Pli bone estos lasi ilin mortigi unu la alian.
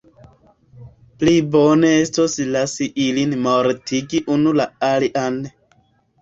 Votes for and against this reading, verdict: 2, 0, accepted